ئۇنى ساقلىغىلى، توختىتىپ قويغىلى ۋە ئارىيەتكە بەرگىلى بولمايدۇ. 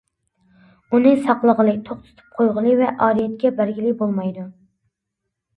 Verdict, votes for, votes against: accepted, 2, 0